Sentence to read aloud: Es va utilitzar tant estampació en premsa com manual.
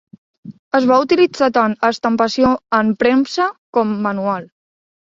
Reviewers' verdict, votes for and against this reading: accepted, 3, 0